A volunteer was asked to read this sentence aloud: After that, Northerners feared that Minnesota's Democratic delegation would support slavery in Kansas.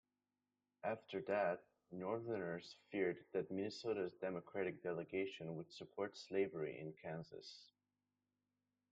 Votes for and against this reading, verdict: 1, 2, rejected